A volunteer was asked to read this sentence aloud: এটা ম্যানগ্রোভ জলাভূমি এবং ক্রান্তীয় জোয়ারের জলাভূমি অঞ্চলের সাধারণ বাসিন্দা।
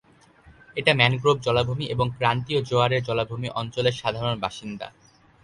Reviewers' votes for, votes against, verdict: 2, 0, accepted